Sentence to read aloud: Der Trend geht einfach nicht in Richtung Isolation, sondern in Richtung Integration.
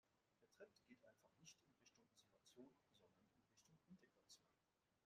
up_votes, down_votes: 0, 2